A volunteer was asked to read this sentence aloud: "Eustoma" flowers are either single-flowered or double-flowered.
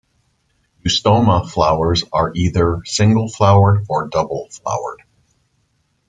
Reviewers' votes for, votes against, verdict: 2, 0, accepted